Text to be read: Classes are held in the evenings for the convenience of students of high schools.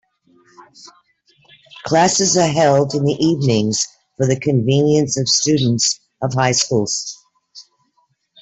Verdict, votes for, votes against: accepted, 2, 1